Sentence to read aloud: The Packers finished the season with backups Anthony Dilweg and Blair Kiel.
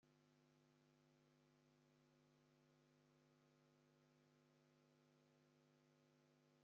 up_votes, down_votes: 0, 2